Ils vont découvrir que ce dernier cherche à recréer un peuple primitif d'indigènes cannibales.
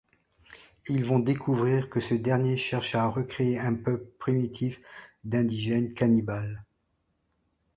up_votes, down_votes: 1, 2